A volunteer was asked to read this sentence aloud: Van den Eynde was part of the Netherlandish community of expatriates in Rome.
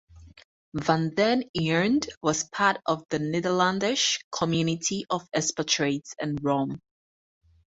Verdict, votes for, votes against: rejected, 0, 4